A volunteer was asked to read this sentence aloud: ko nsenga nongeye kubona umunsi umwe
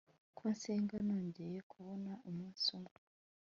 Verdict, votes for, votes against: accepted, 3, 0